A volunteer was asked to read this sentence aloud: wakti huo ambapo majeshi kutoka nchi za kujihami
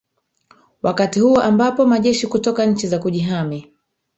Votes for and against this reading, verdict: 1, 2, rejected